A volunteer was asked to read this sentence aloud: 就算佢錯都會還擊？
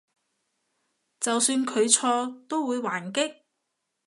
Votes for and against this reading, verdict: 2, 0, accepted